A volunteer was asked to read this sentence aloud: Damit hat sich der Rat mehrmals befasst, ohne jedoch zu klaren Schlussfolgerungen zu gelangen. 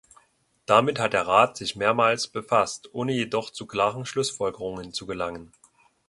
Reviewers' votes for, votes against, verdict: 1, 2, rejected